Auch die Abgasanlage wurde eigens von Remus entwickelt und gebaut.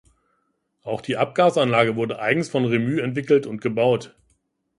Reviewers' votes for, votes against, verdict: 0, 2, rejected